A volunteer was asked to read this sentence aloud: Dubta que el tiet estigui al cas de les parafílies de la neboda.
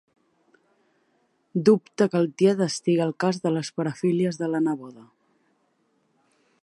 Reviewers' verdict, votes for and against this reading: accepted, 2, 0